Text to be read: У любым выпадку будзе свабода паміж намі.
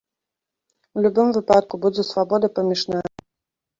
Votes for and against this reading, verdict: 0, 2, rejected